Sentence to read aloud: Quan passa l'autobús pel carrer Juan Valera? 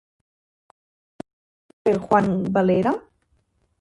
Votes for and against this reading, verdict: 1, 5, rejected